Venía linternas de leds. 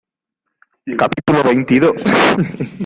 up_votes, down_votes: 0, 2